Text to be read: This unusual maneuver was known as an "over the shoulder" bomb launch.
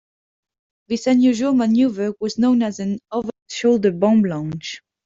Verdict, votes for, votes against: accepted, 3, 1